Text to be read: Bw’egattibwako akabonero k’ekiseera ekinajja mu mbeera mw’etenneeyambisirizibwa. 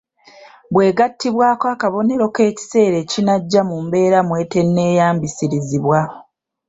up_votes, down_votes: 2, 1